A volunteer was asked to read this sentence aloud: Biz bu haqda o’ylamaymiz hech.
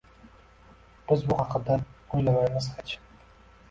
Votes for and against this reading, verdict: 1, 2, rejected